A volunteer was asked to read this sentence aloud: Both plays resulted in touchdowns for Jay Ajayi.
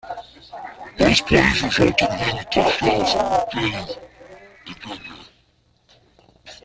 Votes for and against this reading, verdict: 0, 2, rejected